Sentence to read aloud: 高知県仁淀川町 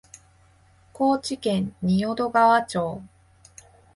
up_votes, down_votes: 2, 0